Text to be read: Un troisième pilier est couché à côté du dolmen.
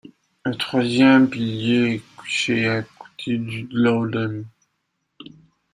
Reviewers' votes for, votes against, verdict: 1, 2, rejected